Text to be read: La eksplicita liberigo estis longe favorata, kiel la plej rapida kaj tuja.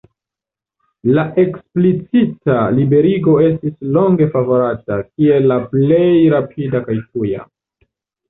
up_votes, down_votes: 2, 1